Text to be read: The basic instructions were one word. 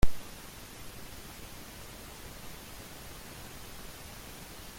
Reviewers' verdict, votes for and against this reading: rejected, 0, 2